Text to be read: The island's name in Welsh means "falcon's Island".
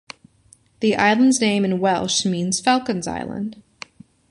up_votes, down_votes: 2, 0